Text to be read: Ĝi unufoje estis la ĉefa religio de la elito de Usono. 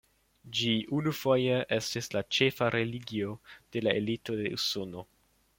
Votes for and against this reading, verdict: 2, 0, accepted